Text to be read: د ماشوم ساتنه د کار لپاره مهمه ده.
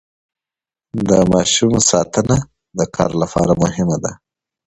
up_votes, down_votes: 2, 0